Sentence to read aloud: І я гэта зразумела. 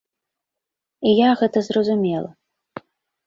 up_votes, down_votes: 2, 0